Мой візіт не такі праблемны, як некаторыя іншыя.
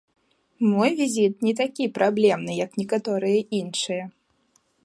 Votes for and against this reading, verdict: 2, 0, accepted